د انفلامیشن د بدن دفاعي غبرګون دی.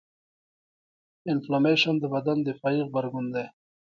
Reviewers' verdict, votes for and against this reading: accepted, 2, 1